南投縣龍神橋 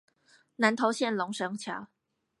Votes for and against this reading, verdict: 0, 4, rejected